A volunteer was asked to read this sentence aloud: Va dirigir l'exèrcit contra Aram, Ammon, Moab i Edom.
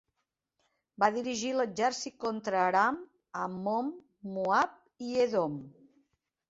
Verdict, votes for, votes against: accepted, 2, 0